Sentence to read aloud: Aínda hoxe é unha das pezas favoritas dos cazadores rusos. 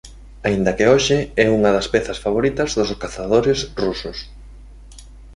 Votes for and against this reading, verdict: 1, 2, rejected